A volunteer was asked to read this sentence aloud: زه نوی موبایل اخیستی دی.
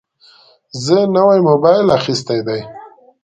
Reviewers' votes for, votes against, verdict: 2, 0, accepted